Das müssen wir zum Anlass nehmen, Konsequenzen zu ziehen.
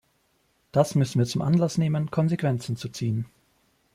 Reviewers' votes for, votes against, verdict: 2, 0, accepted